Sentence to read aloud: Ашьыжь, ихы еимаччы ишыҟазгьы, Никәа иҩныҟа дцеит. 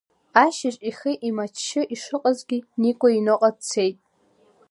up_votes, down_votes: 2, 0